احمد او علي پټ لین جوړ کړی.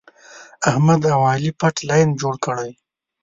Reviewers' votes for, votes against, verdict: 2, 0, accepted